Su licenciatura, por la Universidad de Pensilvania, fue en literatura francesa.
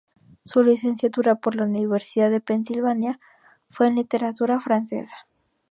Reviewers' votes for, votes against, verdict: 2, 0, accepted